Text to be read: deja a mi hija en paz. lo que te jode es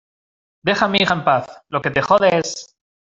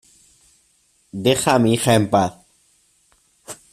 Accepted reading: first